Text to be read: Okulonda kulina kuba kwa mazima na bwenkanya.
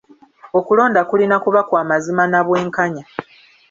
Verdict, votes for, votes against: accepted, 3, 0